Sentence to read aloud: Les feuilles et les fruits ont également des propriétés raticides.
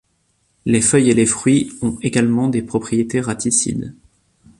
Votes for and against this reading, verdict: 2, 0, accepted